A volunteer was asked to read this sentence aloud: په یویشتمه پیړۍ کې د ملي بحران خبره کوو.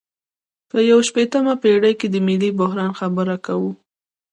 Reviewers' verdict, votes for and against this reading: rejected, 1, 2